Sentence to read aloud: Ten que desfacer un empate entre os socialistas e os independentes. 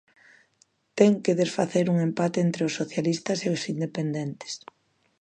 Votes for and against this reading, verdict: 2, 0, accepted